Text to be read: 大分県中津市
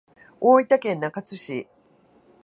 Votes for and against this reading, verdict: 2, 0, accepted